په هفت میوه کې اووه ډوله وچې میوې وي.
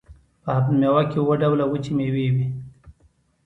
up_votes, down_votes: 2, 0